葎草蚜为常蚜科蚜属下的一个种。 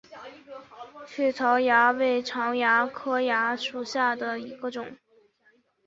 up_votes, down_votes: 3, 0